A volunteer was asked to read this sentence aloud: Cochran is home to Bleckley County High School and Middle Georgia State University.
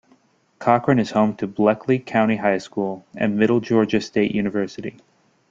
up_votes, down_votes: 2, 0